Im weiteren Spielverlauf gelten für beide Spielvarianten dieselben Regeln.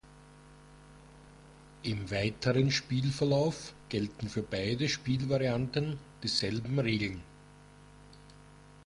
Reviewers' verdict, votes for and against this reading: accepted, 2, 0